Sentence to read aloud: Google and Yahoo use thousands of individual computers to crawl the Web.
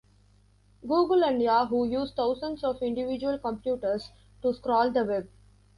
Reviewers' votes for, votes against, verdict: 1, 2, rejected